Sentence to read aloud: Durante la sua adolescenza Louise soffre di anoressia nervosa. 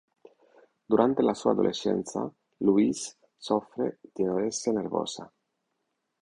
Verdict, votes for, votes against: rejected, 1, 2